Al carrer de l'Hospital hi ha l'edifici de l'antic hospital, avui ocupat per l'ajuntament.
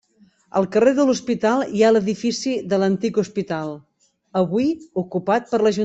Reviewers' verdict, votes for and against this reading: rejected, 1, 2